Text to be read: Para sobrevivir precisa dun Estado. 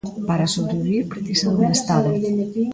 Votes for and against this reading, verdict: 0, 2, rejected